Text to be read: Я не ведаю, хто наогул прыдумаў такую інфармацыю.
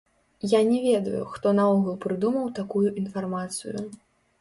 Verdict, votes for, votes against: rejected, 1, 2